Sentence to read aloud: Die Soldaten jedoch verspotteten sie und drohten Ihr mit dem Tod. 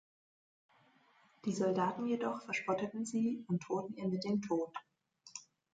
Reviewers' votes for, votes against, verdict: 2, 0, accepted